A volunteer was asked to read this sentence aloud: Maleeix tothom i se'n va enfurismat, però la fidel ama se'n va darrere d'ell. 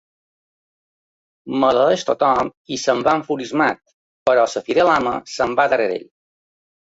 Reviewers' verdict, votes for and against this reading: rejected, 0, 2